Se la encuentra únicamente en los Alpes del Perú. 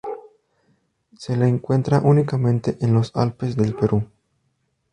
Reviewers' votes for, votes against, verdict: 2, 0, accepted